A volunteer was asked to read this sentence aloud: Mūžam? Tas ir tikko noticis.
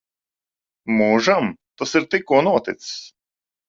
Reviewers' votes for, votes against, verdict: 2, 0, accepted